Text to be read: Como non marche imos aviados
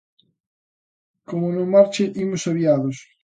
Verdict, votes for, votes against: accepted, 2, 0